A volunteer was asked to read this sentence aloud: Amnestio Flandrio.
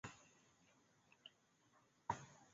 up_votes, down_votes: 0, 2